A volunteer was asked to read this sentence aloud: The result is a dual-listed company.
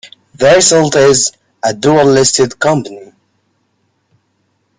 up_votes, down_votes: 1, 2